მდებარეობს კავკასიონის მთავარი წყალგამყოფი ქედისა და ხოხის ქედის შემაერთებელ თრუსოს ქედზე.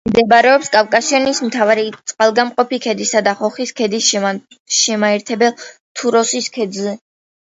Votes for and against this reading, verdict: 2, 1, accepted